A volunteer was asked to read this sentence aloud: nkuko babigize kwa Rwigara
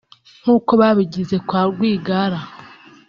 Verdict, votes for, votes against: accepted, 2, 0